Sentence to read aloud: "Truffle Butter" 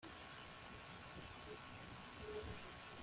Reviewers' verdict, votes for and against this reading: rejected, 0, 2